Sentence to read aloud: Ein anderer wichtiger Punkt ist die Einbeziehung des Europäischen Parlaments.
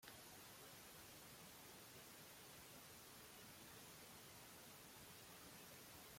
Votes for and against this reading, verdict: 0, 2, rejected